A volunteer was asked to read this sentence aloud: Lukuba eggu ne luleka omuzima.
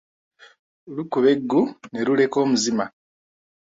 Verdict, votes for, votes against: accepted, 2, 0